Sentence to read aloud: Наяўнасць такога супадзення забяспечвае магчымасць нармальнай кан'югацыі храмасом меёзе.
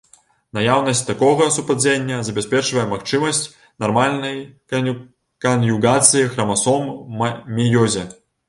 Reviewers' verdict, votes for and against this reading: rejected, 0, 2